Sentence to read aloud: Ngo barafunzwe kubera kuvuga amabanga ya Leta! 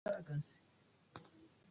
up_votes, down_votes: 0, 2